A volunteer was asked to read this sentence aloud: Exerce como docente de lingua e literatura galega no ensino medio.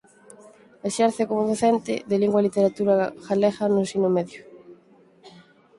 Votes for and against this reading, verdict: 4, 0, accepted